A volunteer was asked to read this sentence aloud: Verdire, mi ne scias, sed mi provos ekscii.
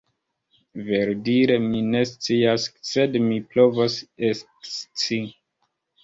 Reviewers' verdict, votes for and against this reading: rejected, 1, 2